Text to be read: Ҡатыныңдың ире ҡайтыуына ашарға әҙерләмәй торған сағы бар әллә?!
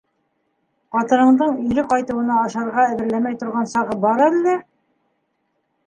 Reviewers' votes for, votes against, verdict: 3, 2, accepted